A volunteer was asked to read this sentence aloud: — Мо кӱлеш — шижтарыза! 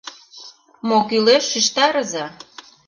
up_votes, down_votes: 2, 0